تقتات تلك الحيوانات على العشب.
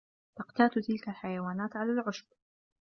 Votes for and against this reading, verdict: 1, 2, rejected